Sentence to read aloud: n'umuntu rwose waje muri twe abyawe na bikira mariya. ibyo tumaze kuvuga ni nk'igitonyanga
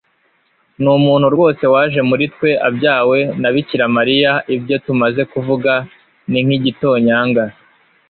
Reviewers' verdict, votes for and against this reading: accepted, 2, 0